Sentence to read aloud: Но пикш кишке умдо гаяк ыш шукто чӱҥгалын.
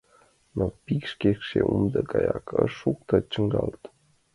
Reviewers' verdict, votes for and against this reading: rejected, 0, 2